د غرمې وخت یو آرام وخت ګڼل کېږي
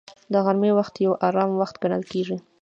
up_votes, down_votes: 1, 2